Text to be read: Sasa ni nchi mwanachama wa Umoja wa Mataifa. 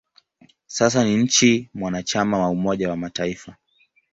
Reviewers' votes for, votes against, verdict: 0, 2, rejected